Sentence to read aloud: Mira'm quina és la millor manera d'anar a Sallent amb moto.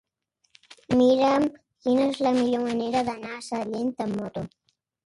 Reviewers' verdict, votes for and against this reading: rejected, 1, 2